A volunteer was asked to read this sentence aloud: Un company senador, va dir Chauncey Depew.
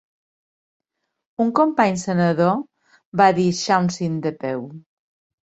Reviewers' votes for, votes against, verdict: 3, 0, accepted